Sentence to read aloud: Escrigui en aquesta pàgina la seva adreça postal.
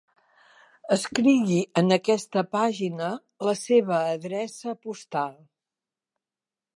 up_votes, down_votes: 2, 0